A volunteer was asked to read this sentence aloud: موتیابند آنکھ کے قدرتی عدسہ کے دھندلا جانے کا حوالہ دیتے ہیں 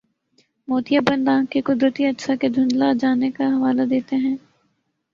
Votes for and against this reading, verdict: 1, 4, rejected